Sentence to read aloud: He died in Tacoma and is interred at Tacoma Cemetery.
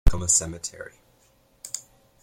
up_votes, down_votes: 1, 2